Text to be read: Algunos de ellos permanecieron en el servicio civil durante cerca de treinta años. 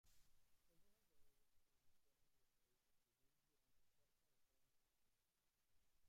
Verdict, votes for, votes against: rejected, 0, 2